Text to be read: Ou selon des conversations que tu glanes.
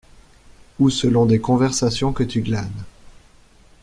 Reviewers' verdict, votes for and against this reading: accepted, 2, 0